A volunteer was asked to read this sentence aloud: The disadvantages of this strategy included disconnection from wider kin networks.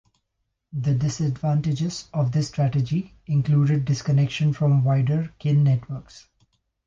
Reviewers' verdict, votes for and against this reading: accepted, 2, 0